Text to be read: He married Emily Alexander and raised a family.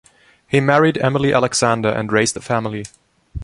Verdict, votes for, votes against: accepted, 2, 0